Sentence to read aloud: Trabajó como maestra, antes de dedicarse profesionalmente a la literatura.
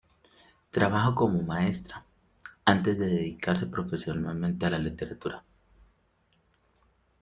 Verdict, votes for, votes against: accepted, 2, 0